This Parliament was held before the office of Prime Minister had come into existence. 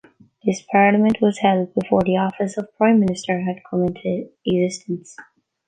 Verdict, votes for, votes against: rejected, 1, 2